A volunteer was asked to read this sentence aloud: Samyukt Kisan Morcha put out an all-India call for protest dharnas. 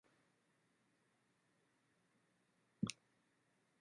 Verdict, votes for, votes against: rejected, 0, 2